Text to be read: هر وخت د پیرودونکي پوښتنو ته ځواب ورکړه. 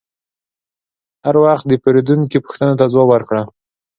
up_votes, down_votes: 3, 0